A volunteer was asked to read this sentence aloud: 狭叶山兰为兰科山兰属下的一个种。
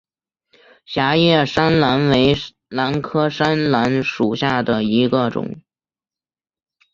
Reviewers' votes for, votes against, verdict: 1, 2, rejected